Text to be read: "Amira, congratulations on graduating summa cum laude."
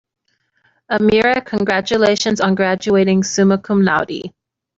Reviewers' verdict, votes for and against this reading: accepted, 2, 0